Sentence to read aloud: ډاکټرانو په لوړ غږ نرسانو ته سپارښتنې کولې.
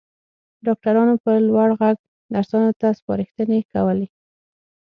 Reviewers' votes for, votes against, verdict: 6, 0, accepted